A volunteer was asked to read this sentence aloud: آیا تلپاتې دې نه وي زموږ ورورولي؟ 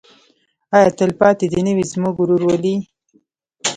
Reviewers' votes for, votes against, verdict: 1, 2, rejected